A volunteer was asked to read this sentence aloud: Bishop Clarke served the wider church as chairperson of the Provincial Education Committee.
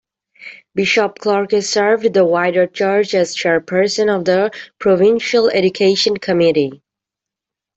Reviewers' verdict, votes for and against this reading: rejected, 0, 2